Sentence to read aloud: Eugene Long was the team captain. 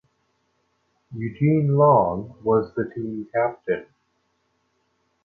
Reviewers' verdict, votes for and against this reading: accepted, 2, 1